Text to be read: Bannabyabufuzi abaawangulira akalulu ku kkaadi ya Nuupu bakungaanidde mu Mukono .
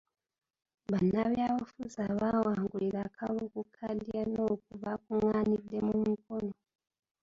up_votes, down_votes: 1, 2